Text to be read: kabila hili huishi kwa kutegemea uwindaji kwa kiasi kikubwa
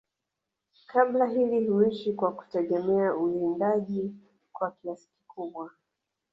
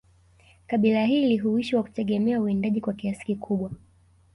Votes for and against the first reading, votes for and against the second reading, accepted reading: 2, 0, 0, 2, first